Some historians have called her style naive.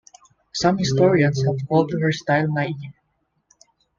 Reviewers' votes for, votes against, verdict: 1, 2, rejected